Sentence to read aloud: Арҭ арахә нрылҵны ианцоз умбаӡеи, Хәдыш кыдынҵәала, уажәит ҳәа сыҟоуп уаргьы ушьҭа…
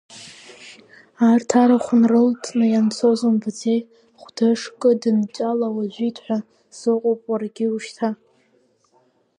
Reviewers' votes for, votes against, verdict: 0, 2, rejected